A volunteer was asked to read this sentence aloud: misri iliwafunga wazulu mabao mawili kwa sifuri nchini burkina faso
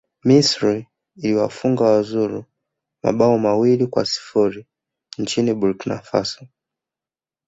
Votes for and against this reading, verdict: 2, 0, accepted